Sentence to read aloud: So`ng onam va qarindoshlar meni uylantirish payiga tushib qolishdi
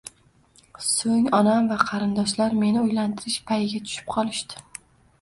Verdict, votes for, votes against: accepted, 2, 0